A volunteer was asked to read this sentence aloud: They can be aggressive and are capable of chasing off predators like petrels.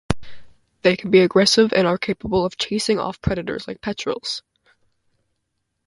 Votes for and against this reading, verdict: 2, 0, accepted